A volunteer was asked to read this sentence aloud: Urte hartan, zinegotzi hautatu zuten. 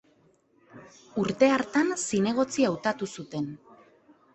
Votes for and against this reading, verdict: 2, 0, accepted